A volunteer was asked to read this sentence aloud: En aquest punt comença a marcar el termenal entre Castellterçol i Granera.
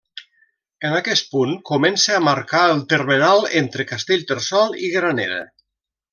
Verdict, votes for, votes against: accepted, 2, 0